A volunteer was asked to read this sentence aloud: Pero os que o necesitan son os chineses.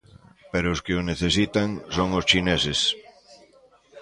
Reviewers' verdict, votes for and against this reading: rejected, 1, 2